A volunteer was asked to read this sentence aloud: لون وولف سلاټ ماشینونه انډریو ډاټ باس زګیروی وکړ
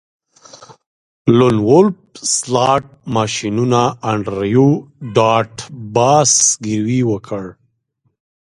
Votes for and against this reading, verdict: 2, 0, accepted